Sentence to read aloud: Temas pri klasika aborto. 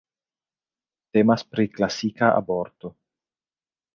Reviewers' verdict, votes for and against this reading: rejected, 1, 2